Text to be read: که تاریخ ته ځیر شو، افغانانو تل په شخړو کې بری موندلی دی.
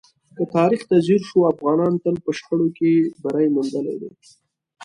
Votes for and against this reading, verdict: 2, 0, accepted